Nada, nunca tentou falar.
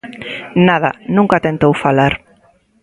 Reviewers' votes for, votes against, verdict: 1, 2, rejected